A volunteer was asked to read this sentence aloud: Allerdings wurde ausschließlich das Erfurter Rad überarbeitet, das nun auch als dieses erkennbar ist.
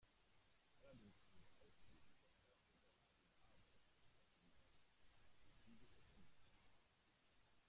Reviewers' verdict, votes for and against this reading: rejected, 0, 2